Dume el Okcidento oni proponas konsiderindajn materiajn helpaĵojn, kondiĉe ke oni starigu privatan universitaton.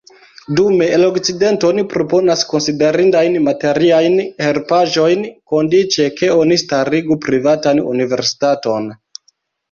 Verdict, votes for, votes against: rejected, 0, 2